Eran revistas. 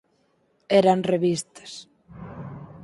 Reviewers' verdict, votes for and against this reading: accepted, 4, 2